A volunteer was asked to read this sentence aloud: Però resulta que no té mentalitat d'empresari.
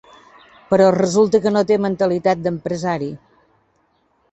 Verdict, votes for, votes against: accepted, 4, 0